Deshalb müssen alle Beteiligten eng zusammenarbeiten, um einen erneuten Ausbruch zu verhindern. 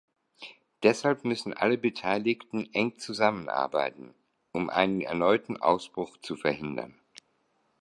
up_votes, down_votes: 2, 0